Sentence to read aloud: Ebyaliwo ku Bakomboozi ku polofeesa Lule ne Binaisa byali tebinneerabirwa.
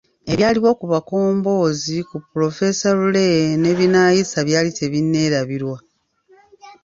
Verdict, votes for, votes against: rejected, 1, 2